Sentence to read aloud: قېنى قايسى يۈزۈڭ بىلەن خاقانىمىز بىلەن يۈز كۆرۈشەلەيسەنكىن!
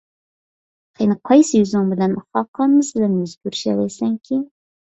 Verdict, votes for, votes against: rejected, 1, 2